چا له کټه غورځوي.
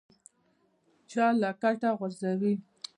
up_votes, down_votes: 0, 2